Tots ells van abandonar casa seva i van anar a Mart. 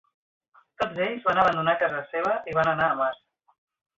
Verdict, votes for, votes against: accepted, 2, 1